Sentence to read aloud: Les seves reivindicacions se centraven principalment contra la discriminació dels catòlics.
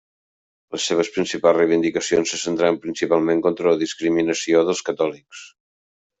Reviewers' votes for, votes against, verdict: 1, 2, rejected